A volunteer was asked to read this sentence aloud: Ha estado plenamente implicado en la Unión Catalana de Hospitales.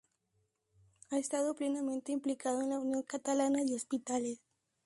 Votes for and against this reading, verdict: 2, 0, accepted